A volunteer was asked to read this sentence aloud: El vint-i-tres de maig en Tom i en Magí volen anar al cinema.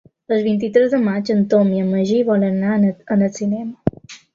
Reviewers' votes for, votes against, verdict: 2, 0, accepted